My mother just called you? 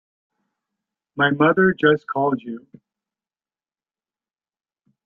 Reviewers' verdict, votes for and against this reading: rejected, 1, 2